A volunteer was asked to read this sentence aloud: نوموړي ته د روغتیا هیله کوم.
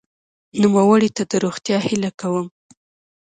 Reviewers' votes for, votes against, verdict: 2, 0, accepted